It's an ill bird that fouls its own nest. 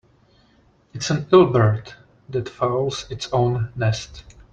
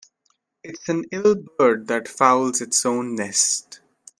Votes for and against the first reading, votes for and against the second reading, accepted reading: 2, 1, 1, 2, first